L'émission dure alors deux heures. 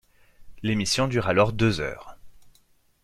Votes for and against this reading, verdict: 2, 0, accepted